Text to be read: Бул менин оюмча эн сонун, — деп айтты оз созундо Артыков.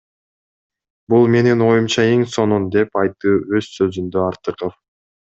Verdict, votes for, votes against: rejected, 1, 2